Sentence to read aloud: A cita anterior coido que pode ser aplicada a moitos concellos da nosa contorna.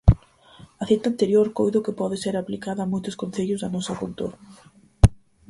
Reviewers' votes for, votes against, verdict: 4, 0, accepted